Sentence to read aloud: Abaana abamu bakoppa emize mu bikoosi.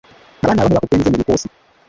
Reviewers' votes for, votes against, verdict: 0, 2, rejected